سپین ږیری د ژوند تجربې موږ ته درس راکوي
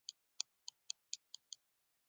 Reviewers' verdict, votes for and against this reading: accepted, 2, 0